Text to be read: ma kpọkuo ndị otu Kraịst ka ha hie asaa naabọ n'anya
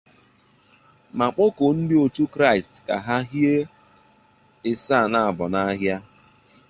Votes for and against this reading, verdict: 0, 2, rejected